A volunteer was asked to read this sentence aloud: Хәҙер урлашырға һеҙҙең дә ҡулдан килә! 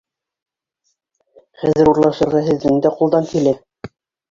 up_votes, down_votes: 1, 2